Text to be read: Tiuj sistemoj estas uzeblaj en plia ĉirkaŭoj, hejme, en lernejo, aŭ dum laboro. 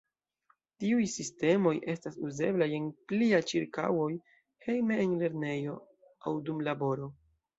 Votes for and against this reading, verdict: 2, 0, accepted